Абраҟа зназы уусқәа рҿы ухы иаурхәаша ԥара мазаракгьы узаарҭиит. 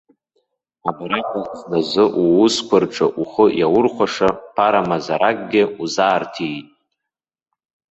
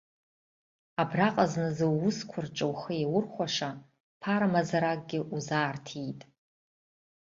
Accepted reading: second